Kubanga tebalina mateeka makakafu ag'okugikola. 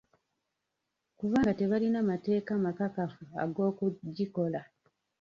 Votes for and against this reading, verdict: 0, 2, rejected